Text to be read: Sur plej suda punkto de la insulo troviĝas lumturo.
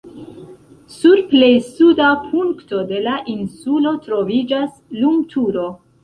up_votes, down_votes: 1, 2